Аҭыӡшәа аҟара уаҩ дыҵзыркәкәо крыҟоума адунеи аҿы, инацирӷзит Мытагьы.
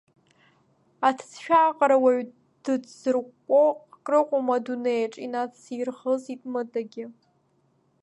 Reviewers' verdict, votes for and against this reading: rejected, 1, 3